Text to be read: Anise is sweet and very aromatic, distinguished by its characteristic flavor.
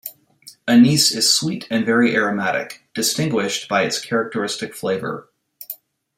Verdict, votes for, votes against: accepted, 2, 0